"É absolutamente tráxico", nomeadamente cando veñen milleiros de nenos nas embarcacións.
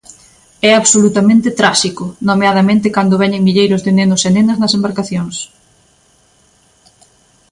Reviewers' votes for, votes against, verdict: 0, 2, rejected